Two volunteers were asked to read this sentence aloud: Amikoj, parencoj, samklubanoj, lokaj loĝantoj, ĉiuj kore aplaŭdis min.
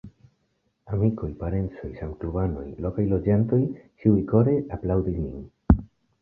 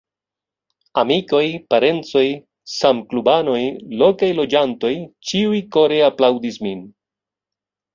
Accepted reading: first